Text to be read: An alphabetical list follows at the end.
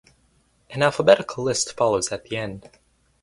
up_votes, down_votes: 4, 0